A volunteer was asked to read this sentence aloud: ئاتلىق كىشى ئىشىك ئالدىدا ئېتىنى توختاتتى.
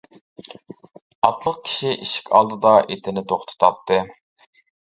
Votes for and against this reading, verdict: 1, 2, rejected